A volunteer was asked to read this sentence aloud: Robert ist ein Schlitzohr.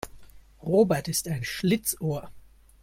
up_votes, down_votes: 2, 0